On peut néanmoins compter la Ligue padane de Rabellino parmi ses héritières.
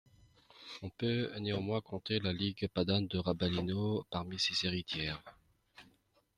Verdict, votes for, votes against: rejected, 0, 2